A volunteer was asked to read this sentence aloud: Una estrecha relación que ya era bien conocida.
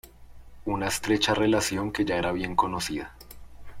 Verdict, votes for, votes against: accepted, 2, 1